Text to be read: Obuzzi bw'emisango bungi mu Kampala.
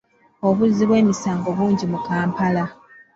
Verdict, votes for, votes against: accepted, 2, 0